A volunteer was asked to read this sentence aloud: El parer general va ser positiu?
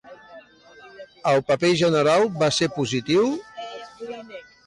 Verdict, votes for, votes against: accepted, 2, 1